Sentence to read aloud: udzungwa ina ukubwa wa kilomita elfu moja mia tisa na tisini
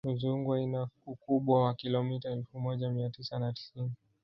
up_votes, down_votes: 2, 3